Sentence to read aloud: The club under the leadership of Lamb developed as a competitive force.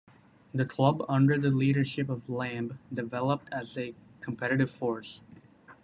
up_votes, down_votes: 2, 1